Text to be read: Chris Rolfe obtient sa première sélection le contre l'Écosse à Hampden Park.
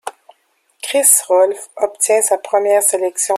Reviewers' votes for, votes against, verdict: 0, 2, rejected